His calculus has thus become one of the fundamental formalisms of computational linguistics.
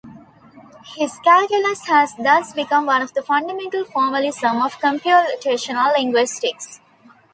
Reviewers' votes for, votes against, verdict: 1, 2, rejected